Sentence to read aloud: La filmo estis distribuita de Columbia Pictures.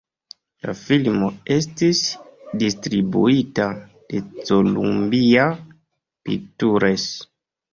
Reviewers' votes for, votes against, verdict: 1, 2, rejected